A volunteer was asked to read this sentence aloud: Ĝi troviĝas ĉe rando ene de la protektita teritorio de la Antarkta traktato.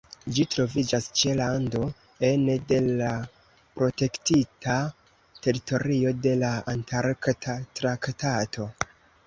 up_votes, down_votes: 0, 2